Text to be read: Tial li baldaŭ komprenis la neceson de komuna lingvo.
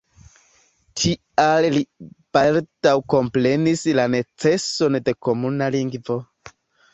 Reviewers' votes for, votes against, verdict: 2, 0, accepted